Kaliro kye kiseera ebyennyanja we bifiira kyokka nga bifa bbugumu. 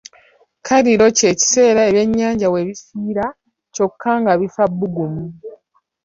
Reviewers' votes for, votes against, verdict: 1, 2, rejected